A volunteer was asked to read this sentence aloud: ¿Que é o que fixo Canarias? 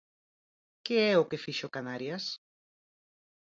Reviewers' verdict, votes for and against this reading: accepted, 4, 0